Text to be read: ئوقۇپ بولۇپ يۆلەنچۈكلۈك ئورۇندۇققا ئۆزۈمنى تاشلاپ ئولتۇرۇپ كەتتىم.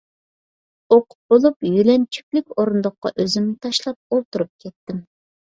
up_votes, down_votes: 2, 0